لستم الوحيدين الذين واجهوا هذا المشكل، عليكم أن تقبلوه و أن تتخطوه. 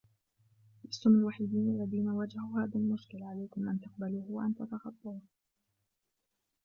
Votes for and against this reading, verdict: 0, 2, rejected